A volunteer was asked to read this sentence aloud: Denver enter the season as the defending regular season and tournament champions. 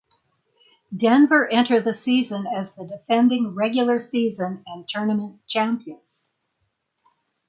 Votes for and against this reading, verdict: 3, 3, rejected